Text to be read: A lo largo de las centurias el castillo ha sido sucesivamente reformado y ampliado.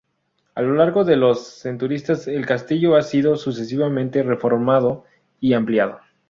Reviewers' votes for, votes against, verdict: 0, 2, rejected